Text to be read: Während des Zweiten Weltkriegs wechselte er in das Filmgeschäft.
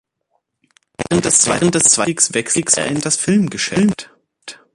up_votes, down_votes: 0, 2